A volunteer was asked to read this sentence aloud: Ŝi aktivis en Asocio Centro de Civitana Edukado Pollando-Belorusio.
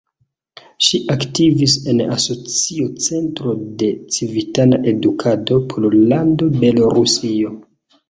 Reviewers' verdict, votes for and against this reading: accepted, 2, 0